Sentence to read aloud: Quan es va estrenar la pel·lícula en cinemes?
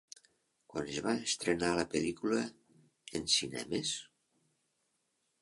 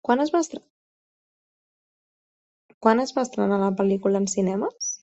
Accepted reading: second